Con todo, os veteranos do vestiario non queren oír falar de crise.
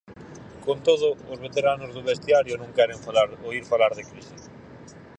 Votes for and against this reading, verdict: 0, 4, rejected